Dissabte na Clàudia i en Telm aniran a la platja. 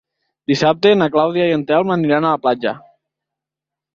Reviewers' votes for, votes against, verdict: 2, 0, accepted